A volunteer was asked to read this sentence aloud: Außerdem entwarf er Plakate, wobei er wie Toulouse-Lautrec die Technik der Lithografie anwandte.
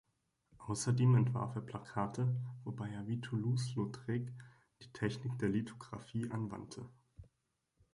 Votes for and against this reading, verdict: 2, 0, accepted